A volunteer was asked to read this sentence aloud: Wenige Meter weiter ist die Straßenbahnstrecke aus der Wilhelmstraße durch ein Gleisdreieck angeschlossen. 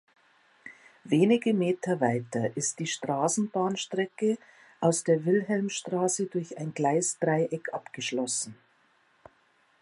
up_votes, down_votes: 0, 2